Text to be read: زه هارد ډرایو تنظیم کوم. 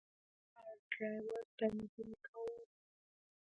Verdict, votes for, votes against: rejected, 1, 2